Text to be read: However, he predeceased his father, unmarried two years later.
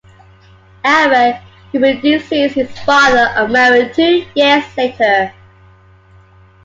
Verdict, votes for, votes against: accepted, 2, 0